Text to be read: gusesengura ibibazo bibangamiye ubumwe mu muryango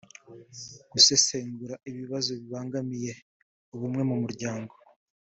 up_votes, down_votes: 3, 0